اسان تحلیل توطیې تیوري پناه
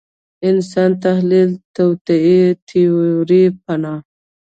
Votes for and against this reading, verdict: 1, 2, rejected